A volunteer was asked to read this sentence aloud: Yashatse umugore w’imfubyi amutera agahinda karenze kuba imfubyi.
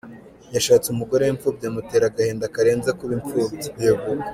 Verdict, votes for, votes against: rejected, 1, 2